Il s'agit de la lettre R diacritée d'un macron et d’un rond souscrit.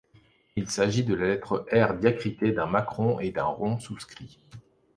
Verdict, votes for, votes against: accepted, 2, 0